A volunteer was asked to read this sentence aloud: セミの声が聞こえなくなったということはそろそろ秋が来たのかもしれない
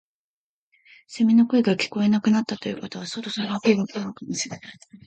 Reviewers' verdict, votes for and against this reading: accepted, 2, 1